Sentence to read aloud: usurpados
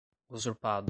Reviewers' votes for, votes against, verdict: 0, 2, rejected